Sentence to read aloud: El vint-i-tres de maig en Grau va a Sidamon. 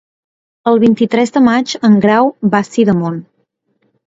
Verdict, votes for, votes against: accepted, 2, 0